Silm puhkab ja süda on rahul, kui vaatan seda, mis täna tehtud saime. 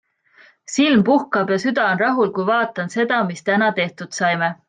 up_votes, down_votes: 2, 0